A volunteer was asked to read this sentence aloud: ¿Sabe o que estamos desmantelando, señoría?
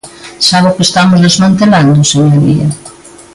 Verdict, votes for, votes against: accepted, 2, 0